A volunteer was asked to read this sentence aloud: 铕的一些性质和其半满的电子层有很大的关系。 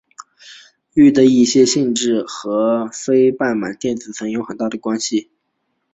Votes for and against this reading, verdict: 2, 0, accepted